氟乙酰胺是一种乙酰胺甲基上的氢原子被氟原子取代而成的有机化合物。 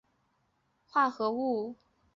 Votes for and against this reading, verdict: 0, 2, rejected